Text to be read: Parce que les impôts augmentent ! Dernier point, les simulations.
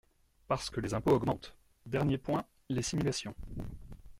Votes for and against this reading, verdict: 2, 0, accepted